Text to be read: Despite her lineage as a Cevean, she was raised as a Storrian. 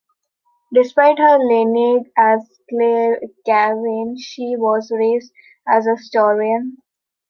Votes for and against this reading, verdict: 0, 2, rejected